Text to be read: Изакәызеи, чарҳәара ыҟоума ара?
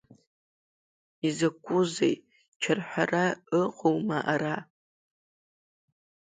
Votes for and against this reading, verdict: 2, 0, accepted